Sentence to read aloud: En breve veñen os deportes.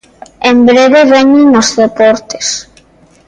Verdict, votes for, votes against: accepted, 2, 0